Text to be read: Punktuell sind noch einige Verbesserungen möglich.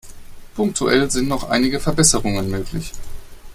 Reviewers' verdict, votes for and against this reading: accepted, 2, 0